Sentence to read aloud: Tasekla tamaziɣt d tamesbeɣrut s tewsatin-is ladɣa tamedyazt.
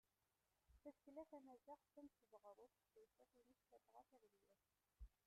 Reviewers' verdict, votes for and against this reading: rejected, 0, 2